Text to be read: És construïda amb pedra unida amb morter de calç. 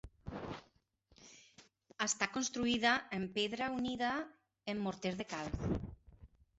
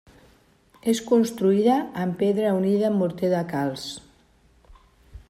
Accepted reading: second